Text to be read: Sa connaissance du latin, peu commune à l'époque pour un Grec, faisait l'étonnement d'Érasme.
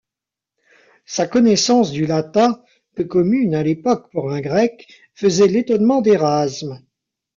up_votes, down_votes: 1, 2